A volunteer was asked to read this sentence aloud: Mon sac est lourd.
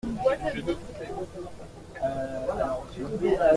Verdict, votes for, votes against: rejected, 0, 2